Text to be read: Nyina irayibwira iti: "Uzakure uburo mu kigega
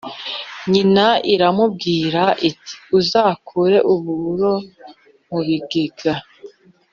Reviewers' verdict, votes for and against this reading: rejected, 1, 2